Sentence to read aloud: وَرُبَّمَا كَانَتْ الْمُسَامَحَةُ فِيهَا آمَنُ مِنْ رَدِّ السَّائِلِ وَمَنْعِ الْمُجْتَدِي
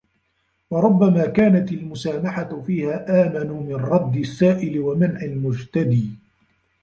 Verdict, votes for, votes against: rejected, 1, 2